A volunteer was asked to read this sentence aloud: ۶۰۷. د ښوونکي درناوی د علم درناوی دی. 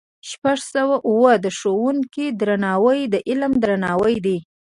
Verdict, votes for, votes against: rejected, 0, 2